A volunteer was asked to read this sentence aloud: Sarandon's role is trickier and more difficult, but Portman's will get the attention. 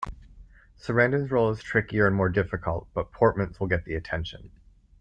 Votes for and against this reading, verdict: 2, 1, accepted